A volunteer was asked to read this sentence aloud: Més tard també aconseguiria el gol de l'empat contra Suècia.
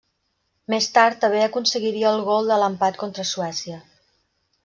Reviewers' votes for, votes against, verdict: 3, 0, accepted